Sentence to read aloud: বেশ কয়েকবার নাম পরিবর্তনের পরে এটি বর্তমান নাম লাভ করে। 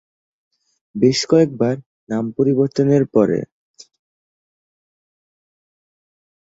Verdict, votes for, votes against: rejected, 0, 2